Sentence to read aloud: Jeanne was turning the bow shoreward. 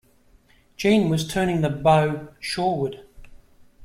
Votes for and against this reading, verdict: 2, 0, accepted